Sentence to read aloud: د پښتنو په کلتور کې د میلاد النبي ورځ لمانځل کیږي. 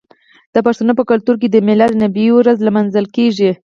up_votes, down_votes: 4, 0